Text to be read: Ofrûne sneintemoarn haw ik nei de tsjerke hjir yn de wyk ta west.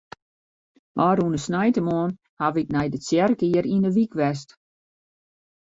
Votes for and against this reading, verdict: 0, 2, rejected